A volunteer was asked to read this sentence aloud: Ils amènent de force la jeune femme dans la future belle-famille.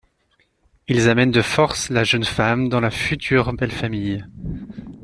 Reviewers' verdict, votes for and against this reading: accepted, 2, 0